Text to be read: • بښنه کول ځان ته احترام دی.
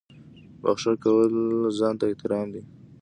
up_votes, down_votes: 1, 2